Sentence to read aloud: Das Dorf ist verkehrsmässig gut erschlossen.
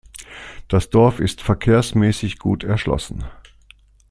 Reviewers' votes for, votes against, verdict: 2, 0, accepted